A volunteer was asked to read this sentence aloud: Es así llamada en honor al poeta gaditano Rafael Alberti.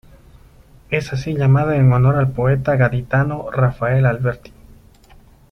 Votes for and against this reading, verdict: 2, 0, accepted